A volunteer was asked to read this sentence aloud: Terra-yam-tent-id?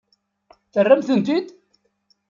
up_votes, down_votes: 1, 2